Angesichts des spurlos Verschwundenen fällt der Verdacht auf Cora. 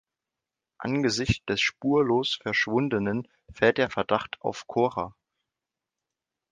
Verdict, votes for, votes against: rejected, 1, 2